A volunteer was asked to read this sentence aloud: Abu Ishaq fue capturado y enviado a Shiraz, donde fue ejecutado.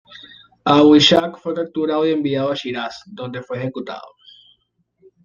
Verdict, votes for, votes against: accepted, 2, 0